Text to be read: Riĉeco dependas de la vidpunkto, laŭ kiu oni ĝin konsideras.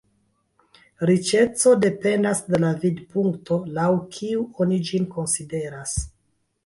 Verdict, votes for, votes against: rejected, 1, 2